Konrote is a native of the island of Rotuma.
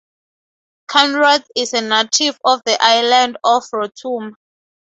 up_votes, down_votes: 0, 2